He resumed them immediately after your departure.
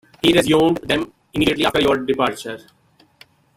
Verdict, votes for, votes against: rejected, 0, 2